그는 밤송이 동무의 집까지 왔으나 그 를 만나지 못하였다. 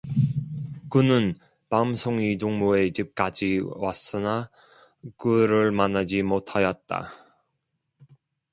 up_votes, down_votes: 0, 2